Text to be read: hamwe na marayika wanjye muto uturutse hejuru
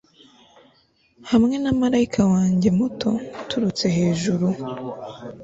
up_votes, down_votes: 2, 0